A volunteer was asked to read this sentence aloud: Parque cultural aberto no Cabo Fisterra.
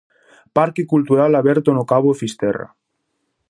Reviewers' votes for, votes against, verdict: 2, 0, accepted